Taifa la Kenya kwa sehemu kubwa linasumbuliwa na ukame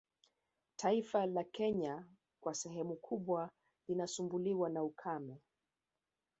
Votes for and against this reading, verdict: 2, 0, accepted